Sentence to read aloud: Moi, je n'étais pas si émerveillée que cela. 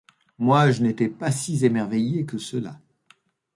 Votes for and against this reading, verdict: 0, 2, rejected